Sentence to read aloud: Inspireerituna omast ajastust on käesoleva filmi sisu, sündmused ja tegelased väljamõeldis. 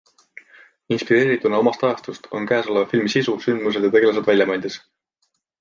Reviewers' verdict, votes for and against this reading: accepted, 2, 0